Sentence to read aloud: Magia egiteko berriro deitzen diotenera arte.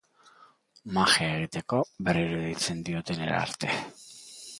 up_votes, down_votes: 2, 1